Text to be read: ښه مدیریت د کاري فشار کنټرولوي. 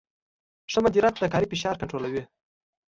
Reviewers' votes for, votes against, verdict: 2, 0, accepted